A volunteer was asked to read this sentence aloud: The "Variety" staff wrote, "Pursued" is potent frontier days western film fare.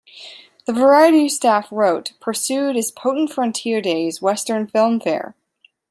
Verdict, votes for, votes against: accepted, 2, 0